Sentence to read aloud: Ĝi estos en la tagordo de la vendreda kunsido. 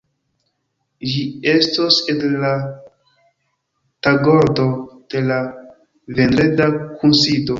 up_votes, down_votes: 2, 1